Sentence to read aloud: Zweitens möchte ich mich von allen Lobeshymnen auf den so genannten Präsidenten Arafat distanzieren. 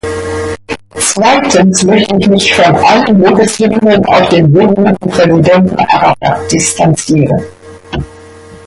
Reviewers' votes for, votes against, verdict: 0, 2, rejected